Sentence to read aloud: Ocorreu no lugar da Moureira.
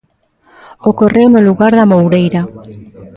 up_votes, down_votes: 1, 2